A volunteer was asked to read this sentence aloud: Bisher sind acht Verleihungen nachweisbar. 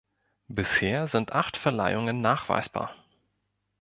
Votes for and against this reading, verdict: 2, 0, accepted